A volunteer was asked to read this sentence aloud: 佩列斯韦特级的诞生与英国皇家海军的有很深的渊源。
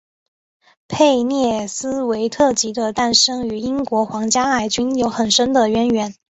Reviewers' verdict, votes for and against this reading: accepted, 2, 1